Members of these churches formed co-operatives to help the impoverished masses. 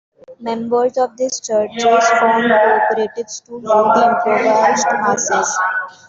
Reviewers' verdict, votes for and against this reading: rejected, 0, 2